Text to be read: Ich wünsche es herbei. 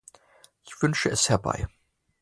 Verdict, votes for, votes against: accepted, 2, 0